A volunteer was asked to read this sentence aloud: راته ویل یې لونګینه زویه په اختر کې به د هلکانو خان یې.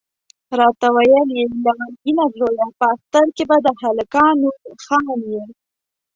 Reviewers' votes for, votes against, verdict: 0, 2, rejected